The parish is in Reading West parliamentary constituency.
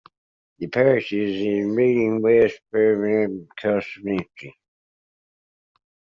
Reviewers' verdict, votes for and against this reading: rejected, 0, 2